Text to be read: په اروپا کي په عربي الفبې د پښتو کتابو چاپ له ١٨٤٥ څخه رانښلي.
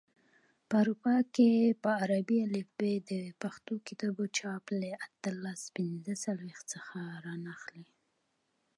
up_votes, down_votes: 0, 2